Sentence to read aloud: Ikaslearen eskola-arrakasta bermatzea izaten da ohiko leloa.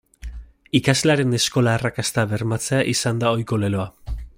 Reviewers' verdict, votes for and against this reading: rejected, 1, 2